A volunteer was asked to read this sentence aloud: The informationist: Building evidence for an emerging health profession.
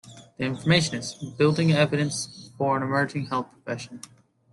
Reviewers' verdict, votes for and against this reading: accepted, 2, 0